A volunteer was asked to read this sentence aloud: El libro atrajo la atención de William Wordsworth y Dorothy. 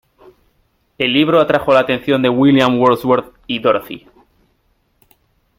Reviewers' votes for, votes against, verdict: 2, 0, accepted